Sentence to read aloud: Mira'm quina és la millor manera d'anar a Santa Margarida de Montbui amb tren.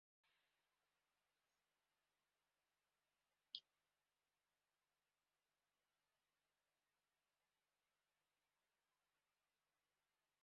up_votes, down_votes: 1, 2